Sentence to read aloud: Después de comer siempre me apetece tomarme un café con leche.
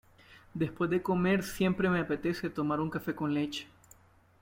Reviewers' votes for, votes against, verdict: 2, 1, accepted